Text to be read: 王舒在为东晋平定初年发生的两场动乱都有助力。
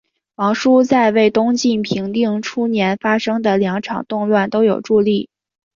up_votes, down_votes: 4, 0